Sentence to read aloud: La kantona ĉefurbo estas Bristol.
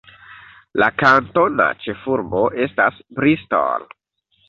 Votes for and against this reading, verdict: 2, 0, accepted